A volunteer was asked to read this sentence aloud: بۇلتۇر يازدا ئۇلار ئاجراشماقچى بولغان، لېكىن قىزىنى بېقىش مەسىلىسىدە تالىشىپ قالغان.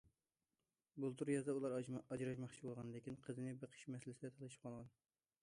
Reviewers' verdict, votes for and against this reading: rejected, 0, 2